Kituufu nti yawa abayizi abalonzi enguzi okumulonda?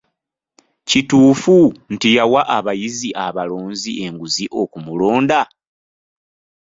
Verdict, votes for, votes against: accepted, 2, 0